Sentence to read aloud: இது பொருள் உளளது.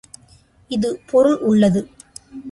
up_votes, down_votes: 1, 2